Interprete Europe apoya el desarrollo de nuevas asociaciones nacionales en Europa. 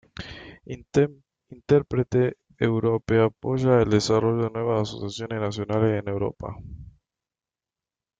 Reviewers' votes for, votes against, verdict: 0, 2, rejected